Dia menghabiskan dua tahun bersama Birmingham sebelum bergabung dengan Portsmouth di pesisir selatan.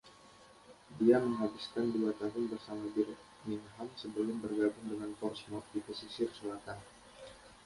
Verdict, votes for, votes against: rejected, 1, 2